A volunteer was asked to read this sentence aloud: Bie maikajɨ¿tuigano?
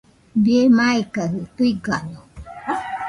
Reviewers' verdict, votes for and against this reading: rejected, 0, 2